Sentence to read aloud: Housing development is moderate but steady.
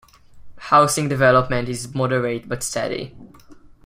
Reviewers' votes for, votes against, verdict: 2, 1, accepted